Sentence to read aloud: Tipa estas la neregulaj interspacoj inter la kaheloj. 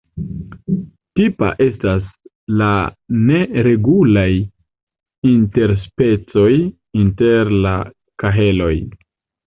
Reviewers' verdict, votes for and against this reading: rejected, 1, 2